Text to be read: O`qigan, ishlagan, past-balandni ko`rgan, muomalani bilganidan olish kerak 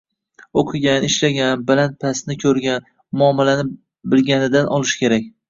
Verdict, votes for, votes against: rejected, 1, 2